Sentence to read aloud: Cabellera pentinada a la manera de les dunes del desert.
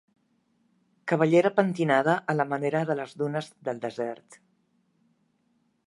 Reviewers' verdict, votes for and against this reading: accepted, 2, 0